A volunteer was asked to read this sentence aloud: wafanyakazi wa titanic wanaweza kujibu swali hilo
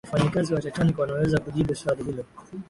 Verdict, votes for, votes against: accepted, 6, 0